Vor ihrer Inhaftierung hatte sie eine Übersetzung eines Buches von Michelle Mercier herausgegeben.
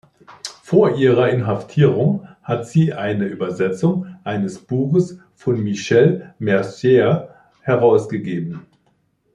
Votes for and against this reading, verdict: 2, 3, rejected